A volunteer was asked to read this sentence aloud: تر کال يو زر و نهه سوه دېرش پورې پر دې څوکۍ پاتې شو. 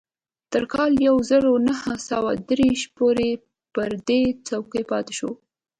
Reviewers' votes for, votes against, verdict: 1, 2, rejected